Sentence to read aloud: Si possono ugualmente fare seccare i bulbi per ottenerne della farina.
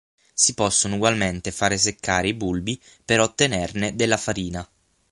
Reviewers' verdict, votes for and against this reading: accepted, 6, 0